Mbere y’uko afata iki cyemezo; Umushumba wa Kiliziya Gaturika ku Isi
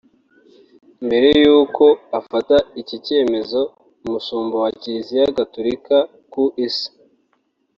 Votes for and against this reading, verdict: 2, 1, accepted